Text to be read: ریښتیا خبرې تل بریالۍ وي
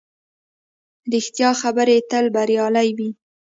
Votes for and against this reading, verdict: 2, 0, accepted